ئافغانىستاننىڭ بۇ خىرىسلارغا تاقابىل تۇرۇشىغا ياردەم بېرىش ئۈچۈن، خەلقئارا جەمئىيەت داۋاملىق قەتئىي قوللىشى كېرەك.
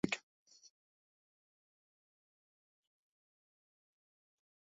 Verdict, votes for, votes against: rejected, 0, 2